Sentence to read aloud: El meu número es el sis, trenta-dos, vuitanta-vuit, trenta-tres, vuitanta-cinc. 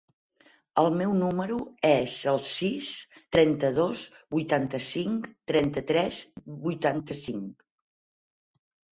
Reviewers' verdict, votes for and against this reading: rejected, 0, 4